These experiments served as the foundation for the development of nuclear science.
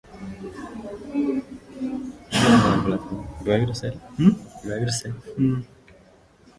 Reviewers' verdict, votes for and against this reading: rejected, 0, 2